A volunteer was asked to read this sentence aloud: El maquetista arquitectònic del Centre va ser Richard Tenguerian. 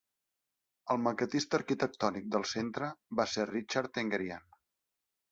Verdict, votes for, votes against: accepted, 2, 0